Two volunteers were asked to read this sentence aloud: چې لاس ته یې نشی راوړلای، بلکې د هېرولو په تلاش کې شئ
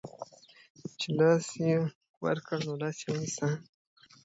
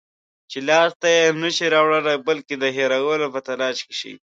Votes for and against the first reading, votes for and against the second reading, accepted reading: 0, 2, 2, 0, second